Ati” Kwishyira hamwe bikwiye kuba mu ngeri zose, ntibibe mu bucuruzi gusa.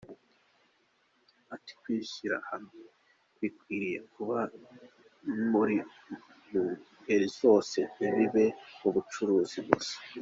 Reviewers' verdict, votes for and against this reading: accepted, 2, 1